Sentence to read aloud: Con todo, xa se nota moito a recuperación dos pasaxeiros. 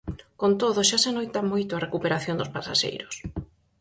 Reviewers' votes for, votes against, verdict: 0, 4, rejected